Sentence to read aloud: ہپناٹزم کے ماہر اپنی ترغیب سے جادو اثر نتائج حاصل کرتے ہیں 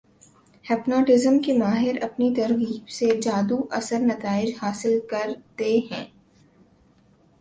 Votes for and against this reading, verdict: 3, 0, accepted